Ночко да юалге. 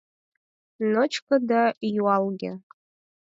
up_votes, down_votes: 4, 0